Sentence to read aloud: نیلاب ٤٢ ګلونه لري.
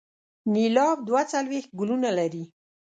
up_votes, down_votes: 0, 2